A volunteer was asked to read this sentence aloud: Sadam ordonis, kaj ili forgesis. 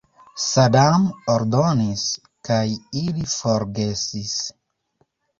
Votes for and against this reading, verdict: 0, 2, rejected